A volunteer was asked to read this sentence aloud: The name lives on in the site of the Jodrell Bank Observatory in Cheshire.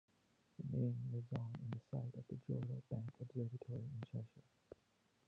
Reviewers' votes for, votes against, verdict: 1, 2, rejected